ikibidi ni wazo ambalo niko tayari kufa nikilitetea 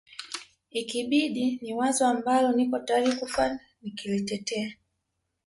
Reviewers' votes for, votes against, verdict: 2, 0, accepted